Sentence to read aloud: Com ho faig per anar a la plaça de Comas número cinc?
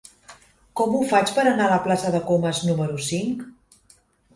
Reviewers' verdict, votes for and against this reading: accepted, 3, 0